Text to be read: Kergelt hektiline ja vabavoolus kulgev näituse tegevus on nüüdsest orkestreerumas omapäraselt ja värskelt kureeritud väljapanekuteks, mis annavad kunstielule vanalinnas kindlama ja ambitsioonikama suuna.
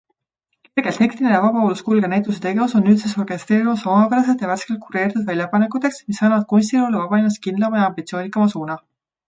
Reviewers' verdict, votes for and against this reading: accepted, 2, 1